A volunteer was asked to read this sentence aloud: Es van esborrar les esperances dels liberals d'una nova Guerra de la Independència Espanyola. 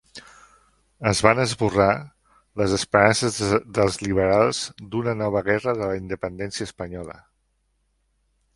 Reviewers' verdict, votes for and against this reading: rejected, 1, 2